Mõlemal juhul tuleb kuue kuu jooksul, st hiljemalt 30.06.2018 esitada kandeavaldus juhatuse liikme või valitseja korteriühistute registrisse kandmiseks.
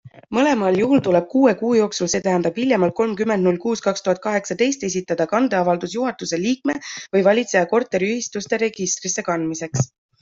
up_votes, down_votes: 0, 2